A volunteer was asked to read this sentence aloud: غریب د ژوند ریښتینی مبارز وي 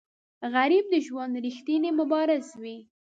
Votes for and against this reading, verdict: 1, 2, rejected